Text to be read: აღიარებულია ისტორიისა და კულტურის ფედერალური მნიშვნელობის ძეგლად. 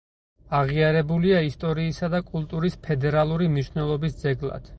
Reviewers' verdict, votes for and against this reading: accepted, 4, 0